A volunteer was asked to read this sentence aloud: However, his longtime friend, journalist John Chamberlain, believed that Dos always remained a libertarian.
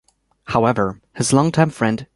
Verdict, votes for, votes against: rejected, 0, 2